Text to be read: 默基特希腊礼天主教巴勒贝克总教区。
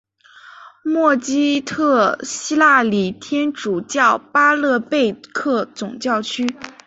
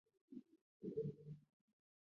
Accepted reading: first